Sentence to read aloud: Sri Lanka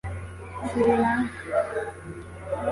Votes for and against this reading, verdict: 1, 2, rejected